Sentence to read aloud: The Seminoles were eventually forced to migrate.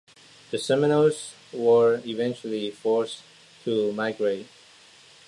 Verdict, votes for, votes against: accepted, 2, 0